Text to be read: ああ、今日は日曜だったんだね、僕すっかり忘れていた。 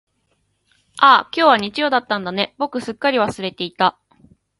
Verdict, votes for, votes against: accepted, 2, 0